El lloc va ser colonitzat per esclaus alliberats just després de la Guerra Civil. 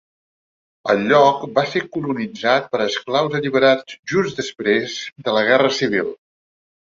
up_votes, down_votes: 4, 0